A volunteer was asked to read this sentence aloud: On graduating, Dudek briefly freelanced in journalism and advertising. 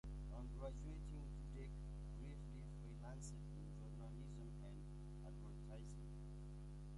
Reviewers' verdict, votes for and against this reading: rejected, 1, 2